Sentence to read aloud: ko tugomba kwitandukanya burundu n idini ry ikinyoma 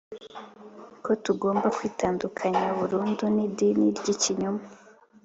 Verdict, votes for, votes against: accepted, 4, 0